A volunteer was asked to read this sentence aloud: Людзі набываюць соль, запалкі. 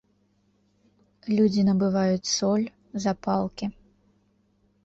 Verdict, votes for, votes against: accepted, 2, 0